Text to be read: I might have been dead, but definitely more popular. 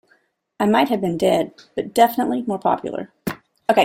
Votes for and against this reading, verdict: 1, 2, rejected